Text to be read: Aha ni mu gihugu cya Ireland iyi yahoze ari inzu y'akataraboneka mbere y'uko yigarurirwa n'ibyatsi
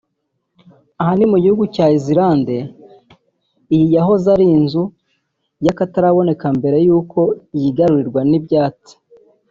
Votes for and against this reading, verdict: 2, 4, rejected